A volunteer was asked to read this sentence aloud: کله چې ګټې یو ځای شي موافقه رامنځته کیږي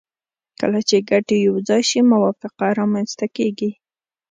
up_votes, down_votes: 2, 0